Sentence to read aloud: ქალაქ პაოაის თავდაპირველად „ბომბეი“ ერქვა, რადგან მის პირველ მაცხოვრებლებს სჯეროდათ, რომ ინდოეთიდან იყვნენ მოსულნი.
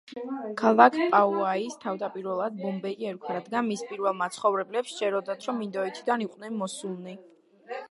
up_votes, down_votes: 2, 0